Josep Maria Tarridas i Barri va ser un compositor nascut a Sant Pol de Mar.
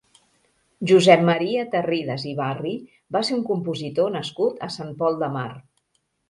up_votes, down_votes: 2, 0